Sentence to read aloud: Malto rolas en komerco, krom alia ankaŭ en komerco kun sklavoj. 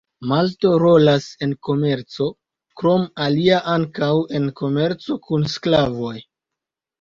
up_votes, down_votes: 2, 0